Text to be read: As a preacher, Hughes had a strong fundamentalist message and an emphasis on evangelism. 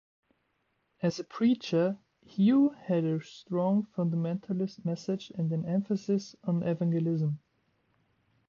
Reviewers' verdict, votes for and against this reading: rejected, 1, 2